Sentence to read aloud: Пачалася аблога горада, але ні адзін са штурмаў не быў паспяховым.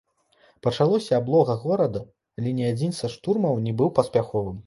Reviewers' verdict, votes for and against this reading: rejected, 0, 2